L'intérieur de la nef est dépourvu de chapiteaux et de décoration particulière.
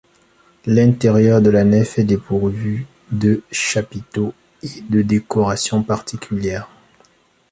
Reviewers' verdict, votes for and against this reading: accepted, 2, 0